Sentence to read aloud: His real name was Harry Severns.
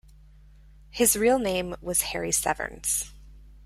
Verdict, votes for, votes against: accepted, 2, 0